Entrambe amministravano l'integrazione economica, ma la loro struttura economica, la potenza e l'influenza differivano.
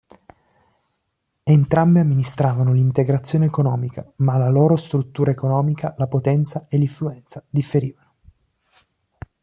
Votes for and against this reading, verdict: 2, 0, accepted